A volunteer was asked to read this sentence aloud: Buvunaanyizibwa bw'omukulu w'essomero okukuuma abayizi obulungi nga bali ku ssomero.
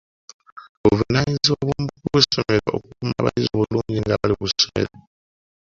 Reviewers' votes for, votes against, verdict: 0, 2, rejected